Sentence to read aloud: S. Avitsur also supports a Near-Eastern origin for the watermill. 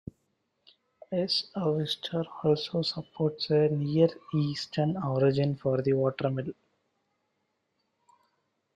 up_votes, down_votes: 3, 4